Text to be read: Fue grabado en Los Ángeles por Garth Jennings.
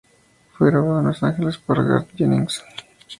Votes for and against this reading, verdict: 4, 2, accepted